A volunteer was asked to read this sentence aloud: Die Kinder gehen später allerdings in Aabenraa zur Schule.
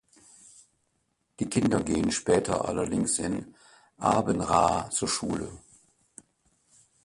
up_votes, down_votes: 2, 0